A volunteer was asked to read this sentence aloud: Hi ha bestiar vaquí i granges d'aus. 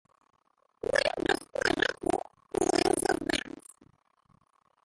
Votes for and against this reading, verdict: 0, 2, rejected